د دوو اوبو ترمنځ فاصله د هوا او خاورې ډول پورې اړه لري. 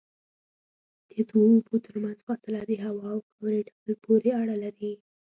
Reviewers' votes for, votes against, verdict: 1, 2, rejected